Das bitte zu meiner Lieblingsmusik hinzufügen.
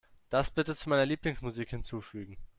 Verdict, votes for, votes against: accepted, 2, 0